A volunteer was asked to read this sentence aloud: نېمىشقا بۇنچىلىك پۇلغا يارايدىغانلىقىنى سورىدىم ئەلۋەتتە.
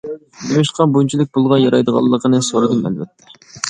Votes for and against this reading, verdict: 1, 2, rejected